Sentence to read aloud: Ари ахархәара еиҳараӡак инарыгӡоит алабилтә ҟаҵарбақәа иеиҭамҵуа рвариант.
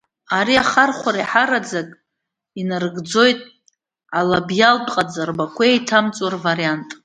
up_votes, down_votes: 0, 2